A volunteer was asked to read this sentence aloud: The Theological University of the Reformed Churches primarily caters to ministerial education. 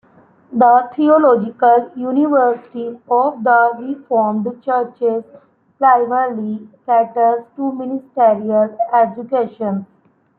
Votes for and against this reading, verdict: 2, 1, accepted